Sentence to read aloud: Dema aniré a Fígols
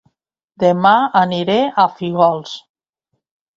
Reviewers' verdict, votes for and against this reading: rejected, 1, 2